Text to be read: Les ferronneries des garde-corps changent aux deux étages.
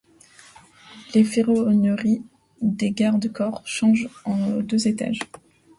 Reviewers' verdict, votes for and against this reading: rejected, 1, 2